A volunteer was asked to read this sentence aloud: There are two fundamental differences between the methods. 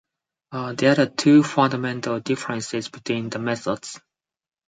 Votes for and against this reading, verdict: 2, 4, rejected